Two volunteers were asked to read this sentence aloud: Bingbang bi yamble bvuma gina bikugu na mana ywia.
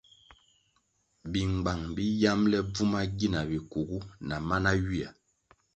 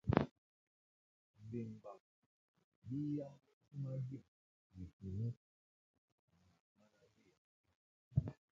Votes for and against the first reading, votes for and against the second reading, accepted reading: 2, 0, 0, 2, first